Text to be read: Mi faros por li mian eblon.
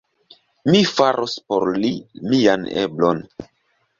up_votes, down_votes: 3, 0